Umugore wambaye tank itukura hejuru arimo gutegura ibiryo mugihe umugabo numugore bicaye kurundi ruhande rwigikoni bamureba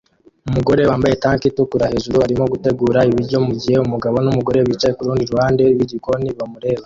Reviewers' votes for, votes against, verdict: 2, 0, accepted